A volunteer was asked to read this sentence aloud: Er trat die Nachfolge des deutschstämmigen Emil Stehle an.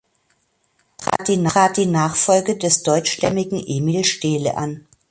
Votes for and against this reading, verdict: 0, 2, rejected